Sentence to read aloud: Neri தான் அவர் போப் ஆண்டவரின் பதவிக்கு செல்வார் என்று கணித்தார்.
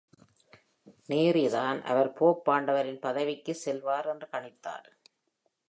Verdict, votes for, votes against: accepted, 2, 0